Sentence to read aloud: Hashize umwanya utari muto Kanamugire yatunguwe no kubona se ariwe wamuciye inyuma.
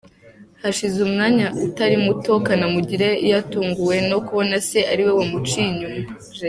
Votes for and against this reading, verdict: 2, 0, accepted